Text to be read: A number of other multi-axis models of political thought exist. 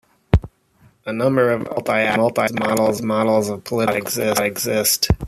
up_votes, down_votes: 0, 2